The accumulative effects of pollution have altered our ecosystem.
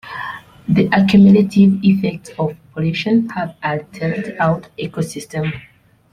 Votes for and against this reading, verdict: 1, 2, rejected